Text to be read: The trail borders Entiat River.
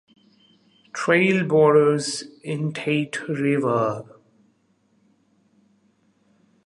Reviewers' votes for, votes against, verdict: 1, 2, rejected